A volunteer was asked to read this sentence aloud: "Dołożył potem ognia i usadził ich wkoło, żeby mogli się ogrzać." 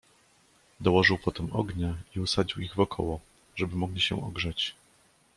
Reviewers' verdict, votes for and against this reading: rejected, 0, 2